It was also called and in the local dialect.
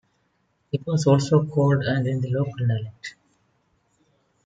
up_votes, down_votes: 2, 0